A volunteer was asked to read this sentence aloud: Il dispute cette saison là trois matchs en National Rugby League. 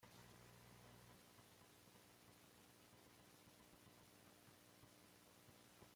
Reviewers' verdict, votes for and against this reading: rejected, 1, 2